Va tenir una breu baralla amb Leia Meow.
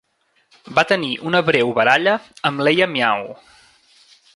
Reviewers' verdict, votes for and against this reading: rejected, 1, 2